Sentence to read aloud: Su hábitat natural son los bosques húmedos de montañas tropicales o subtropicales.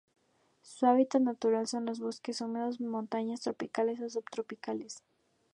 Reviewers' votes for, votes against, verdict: 2, 0, accepted